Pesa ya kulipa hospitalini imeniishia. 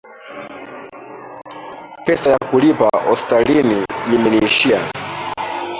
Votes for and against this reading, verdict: 0, 2, rejected